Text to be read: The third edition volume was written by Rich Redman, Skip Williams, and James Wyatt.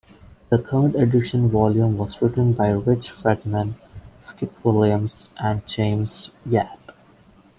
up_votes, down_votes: 1, 2